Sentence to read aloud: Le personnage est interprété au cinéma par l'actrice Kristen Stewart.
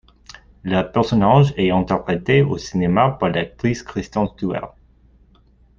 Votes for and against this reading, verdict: 1, 2, rejected